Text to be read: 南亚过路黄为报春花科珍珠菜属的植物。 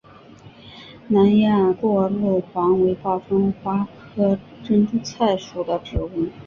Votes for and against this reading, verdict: 3, 0, accepted